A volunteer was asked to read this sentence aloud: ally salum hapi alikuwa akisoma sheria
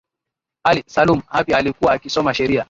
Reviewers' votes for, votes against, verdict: 9, 4, accepted